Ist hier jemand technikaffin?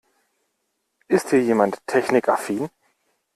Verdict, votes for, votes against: accepted, 2, 0